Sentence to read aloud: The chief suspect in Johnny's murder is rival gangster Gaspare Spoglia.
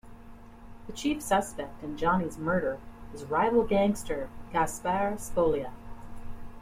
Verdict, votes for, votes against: rejected, 1, 2